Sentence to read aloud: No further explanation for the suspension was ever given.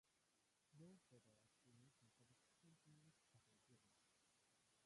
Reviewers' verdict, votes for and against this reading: rejected, 0, 2